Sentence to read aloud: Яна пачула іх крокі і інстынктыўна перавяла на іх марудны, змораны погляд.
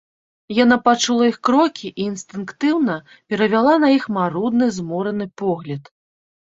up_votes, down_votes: 2, 0